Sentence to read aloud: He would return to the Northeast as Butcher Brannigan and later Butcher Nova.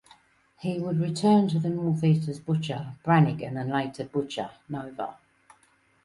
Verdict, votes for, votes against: accepted, 2, 0